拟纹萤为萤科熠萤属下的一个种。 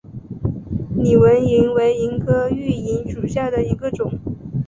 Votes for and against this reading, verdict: 2, 1, accepted